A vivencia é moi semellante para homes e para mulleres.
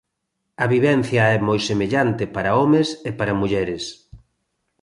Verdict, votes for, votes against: accepted, 2, 0